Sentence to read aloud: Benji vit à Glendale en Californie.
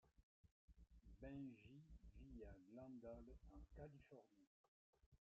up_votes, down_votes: 0, 2